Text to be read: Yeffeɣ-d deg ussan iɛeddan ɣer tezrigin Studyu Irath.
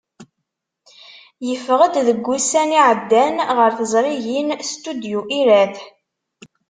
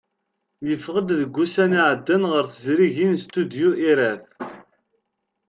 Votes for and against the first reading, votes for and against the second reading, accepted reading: 1, 2, 2, 0, second